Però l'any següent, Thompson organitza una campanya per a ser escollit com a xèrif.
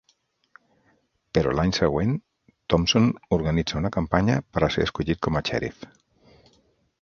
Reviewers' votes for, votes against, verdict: 4, 0, accepted